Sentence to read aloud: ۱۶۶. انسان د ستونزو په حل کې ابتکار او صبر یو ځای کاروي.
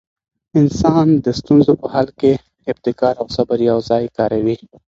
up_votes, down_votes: 0, 2